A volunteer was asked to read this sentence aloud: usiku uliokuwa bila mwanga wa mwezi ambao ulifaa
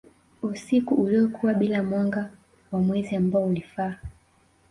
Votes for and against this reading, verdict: 2, 1, accepted